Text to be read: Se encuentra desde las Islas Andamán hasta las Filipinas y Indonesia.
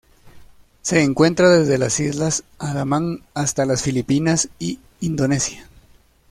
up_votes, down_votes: 0, 2